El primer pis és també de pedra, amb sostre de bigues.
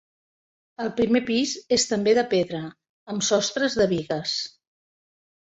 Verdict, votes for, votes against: rejected, 0, 2